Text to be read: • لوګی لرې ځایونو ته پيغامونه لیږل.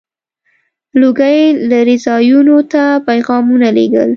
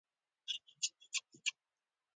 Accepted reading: first